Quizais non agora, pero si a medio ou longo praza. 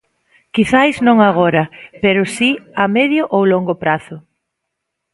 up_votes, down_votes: 0, 2